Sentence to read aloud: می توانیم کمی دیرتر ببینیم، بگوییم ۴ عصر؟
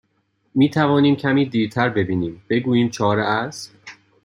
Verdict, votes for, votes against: rejected, 0, 2